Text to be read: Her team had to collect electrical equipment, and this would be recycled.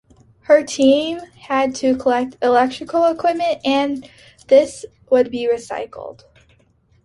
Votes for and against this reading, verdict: 2, 0, accepted